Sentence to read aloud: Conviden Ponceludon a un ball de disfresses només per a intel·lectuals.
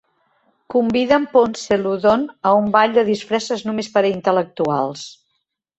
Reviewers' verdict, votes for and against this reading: accepted, 3, 0